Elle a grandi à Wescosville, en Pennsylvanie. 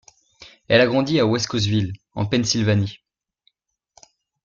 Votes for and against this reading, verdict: 2, 0, accepted